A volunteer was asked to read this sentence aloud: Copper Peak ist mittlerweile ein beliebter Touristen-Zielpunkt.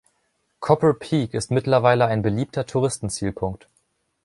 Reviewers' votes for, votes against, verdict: 2, 0, accepted